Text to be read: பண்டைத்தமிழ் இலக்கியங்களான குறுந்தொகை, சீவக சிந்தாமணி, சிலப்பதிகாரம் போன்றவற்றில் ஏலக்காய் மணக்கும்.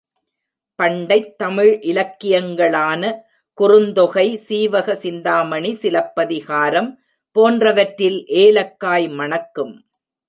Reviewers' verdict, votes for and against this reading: accepted, 2, 0